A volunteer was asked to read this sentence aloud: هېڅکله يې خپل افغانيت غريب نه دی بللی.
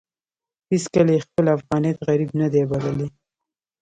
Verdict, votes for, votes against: accepted, 2, 0